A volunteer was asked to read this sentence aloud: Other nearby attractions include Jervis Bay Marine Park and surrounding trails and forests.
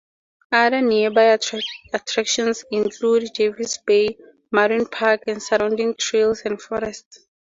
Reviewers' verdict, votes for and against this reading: accepted, 4, 0